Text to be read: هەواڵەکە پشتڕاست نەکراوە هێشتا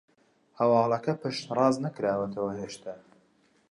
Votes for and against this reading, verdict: 1, 2, rejected